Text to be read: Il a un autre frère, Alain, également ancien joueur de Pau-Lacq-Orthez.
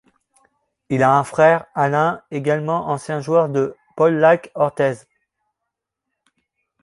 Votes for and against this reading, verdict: 0, 2, rejected